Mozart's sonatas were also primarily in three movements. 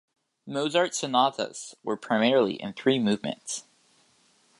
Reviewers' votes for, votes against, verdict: 1, 2, rejected